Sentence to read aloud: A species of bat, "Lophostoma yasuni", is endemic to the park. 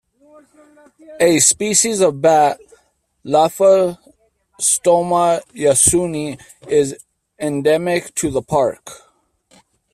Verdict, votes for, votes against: rejected, 0, 2